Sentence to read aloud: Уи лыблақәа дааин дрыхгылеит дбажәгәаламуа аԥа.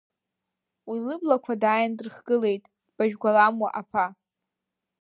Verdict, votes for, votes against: accepted, 2, 0